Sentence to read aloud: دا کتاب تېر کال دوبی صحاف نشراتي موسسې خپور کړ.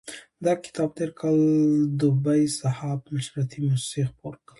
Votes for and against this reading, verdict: 2, 1, accepted